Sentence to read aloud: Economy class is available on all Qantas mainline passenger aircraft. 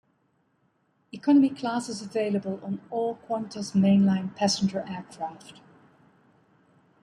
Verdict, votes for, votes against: accepted, 2, 0